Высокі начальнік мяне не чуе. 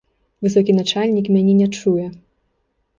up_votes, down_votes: 3, 1